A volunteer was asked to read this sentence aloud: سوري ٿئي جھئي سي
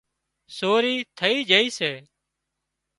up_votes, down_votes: 3, 0